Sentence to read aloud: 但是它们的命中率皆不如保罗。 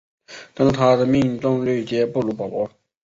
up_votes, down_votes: 2, 1